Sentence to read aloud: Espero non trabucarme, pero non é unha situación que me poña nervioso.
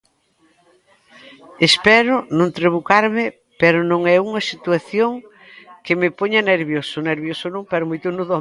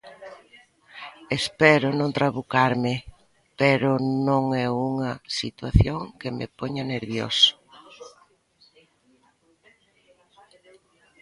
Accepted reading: second